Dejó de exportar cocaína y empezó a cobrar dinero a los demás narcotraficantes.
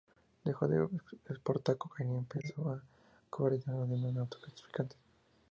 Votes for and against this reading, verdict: 2, 0, accepted